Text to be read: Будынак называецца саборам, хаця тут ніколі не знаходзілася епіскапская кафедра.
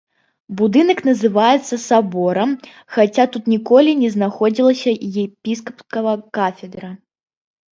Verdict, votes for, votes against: rejected, 1, 2